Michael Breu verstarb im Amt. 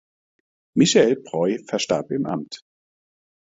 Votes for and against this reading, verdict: 2, 0, accepted